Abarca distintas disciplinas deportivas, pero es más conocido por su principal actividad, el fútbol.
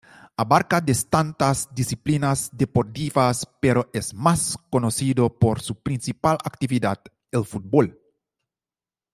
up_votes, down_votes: 0, 2